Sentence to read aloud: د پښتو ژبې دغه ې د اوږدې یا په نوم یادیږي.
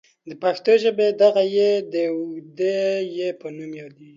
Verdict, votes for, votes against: rejected, 0, 2